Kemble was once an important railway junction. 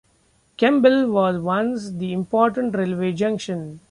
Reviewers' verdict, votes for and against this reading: rejected, 0, 2